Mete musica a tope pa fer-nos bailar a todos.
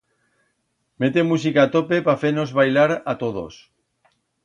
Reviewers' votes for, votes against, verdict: 2, 0, accepted